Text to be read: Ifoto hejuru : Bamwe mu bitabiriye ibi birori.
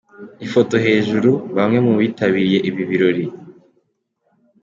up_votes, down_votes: 2, 0